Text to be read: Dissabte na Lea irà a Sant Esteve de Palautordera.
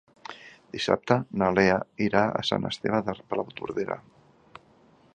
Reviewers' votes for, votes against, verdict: 3, 0, accepted